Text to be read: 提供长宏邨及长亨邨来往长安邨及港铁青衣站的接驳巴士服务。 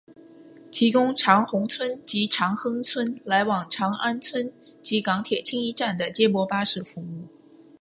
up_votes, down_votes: 2, 0